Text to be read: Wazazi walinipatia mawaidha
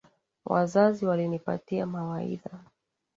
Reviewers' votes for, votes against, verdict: 2, 0, accepted